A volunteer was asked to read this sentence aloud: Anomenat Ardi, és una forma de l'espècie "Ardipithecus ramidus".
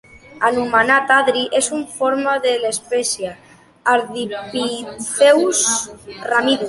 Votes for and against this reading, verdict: 0, 2, rejected